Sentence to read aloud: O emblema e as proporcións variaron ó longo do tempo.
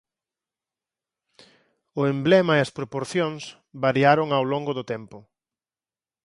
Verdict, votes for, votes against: rejected, 0, 4